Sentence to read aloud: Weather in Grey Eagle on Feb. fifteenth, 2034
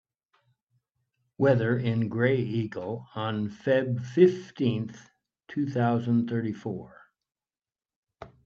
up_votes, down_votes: 0, 2